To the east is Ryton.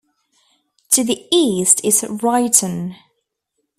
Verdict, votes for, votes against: accepted, 2, 0